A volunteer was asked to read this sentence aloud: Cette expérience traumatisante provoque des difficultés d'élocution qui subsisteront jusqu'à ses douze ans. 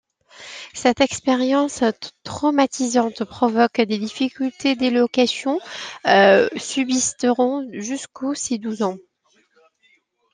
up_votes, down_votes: 0, 2